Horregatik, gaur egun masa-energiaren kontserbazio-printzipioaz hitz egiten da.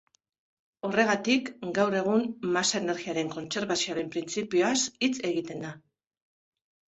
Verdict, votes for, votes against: rejected, 1, 2